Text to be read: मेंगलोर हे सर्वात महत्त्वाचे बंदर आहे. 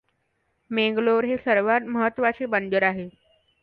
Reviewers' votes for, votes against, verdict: 2, 1, accepted